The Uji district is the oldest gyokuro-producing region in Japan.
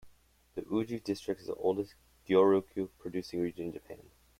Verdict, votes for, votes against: rejected, 0, 2